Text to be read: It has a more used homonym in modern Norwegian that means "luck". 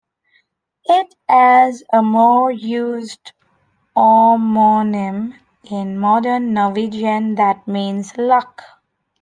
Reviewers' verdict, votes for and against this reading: rejected, 1, 2